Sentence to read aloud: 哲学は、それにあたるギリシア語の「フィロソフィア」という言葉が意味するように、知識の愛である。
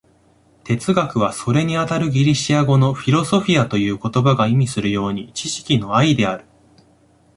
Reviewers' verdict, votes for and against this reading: accepted, 2, 0